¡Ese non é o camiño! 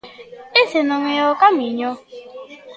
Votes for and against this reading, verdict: 2, 0, accepted